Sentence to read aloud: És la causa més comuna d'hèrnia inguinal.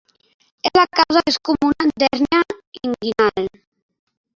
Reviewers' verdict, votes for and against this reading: rejected, 0, 2